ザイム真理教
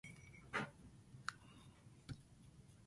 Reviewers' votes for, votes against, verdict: 0, 2, rejected